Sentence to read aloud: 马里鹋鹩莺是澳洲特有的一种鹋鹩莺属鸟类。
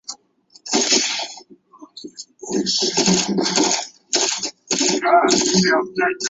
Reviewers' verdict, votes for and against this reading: rejected, 0, 4